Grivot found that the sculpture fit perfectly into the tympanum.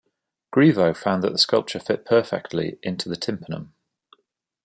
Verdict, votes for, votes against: accepted, 2, 0